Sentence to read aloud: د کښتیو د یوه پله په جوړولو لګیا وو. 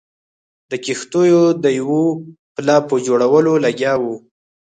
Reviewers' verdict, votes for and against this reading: accepted, 4, 0